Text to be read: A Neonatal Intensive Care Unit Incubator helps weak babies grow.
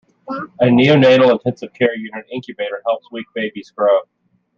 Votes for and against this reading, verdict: 2, 0, accepted